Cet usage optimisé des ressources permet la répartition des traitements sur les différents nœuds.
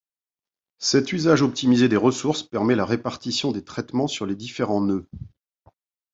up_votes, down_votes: 2, 0